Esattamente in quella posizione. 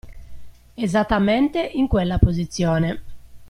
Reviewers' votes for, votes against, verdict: 2, 0, accepted